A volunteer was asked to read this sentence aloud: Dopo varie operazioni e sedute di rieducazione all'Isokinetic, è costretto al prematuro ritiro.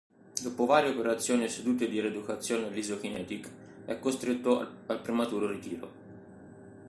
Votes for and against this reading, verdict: 0, 2, rejected